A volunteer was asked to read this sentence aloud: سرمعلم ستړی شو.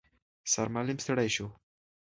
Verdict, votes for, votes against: accepted, 2, 0